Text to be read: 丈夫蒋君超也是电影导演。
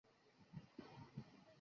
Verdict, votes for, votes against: rejected, 0, 4